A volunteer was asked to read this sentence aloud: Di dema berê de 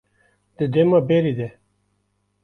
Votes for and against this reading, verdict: 2, 1, accepted